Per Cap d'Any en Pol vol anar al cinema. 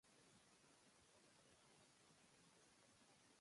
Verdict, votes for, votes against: rejected, 0, 2